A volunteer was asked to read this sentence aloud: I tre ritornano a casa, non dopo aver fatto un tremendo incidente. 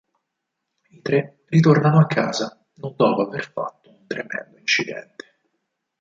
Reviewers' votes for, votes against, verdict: 4, 0, accepted